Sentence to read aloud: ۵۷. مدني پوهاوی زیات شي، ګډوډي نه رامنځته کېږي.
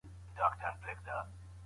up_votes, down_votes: 0, 2